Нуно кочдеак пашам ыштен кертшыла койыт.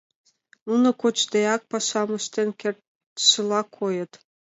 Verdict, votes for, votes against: accepted, 2, 0